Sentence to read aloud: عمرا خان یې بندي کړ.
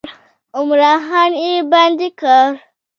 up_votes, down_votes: 2, 1